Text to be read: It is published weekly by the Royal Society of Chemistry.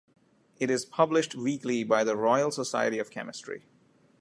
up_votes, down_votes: 2, 0